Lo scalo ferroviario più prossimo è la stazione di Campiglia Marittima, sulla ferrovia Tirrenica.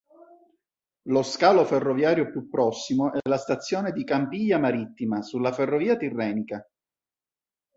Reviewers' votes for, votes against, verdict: 3, 0, accepted